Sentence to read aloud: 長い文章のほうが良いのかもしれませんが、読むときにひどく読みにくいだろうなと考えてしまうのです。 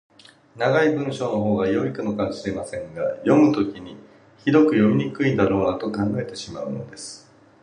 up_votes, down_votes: 2, 0